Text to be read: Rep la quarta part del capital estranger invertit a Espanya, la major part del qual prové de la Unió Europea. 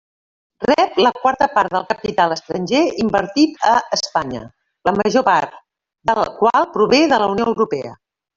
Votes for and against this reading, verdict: 1, 2, rejected